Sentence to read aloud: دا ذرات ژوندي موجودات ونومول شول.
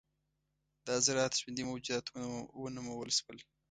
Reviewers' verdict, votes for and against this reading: rejected, 1, 2